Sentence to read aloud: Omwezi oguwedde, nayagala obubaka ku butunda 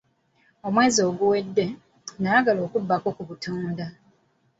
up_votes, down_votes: 1, 2